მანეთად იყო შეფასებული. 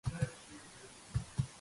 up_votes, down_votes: 0, 2